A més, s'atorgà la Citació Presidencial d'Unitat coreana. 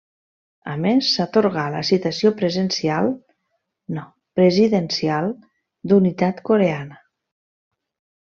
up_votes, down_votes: 0, 2